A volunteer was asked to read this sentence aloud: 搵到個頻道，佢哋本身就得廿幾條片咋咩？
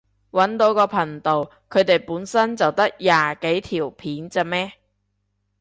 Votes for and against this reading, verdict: 3, 0, accepted